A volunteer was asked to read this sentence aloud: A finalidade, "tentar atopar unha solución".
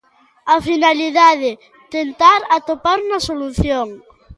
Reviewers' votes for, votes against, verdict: 2, 1, accepted